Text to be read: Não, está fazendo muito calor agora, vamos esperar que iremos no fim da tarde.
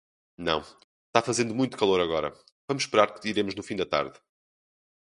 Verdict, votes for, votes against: rejected, 0, 2